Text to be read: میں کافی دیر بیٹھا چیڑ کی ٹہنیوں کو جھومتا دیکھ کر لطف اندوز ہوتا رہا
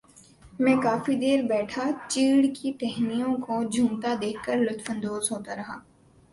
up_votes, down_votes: 3, 0